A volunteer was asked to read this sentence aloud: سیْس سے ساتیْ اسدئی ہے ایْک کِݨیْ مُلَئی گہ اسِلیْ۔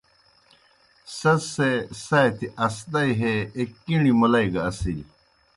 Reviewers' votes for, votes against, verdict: 2, 0, accepted